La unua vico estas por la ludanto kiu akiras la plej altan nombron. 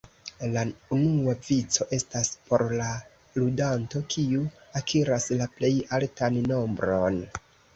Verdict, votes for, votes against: accepted, 2, 1